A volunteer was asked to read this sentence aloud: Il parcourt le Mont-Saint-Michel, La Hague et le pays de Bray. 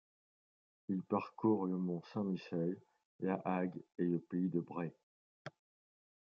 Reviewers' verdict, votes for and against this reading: accepted, 2, 0